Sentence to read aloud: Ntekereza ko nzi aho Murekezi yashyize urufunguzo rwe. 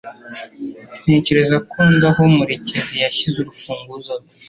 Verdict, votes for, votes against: accepted, 2, 0